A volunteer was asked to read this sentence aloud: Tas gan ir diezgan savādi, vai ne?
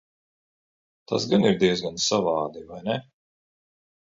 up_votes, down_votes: 2, 0